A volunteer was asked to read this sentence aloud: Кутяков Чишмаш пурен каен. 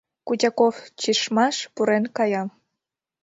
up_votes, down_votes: 0, 2